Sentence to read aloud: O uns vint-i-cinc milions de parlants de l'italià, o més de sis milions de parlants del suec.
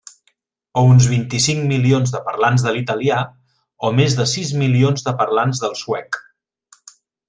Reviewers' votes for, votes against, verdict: 3, 0, accepted